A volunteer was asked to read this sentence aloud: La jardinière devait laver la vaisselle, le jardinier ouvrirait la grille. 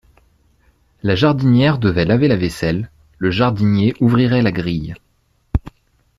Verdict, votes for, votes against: accepted, 2, 0